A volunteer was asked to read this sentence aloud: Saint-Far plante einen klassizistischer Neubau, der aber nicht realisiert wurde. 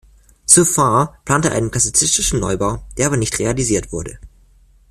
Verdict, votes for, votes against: rejected, 1, 2